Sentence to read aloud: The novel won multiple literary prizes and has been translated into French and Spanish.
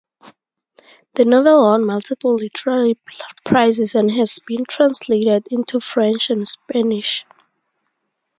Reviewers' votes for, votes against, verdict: 0, 2, rejected